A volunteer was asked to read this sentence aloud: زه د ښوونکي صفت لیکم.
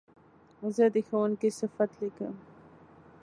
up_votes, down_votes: 2, 0